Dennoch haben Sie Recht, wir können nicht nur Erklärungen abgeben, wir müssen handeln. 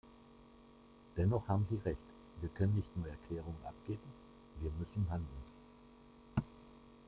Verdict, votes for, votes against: rejected, 0, 2